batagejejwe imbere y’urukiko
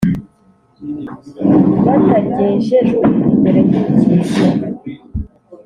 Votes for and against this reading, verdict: 1, 2, rejected